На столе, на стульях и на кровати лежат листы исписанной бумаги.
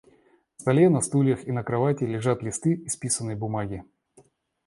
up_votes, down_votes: 1, 2